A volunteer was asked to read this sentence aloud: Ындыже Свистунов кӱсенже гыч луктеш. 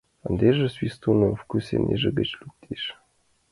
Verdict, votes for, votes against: accepted, 2, 0